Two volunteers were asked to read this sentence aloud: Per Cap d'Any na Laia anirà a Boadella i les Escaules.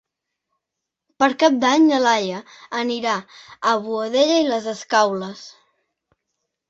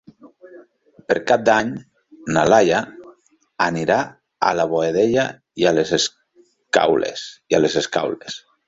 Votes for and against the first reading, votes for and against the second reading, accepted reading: 3, 0, 0, 2, first